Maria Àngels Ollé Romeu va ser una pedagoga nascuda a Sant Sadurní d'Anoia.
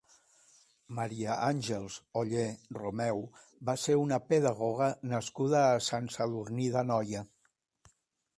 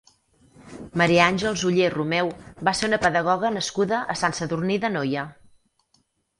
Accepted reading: first